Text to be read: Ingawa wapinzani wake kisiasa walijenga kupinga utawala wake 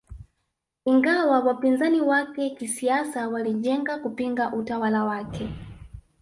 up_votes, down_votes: 1, 2